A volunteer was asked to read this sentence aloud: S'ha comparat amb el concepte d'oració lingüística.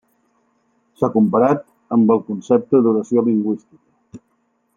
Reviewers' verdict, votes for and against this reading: accepted, 3, 0